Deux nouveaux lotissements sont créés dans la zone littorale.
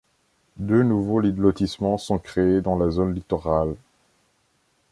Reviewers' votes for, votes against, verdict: 0, 2, rejected